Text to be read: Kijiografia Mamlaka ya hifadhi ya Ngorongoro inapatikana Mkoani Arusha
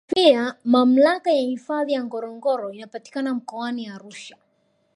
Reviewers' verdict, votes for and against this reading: accepted, 2, 1